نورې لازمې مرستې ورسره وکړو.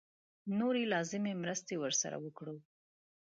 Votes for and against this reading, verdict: 1, 2, rejected